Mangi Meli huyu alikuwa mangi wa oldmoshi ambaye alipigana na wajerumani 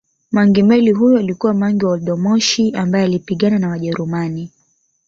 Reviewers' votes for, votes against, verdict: 5, 0, accepted